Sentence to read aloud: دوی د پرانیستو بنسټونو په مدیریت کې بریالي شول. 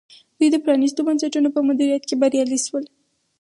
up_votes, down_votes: 2, 2